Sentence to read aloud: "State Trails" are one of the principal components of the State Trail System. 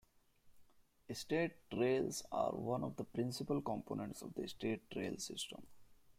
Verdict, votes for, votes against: accepted, 2, 1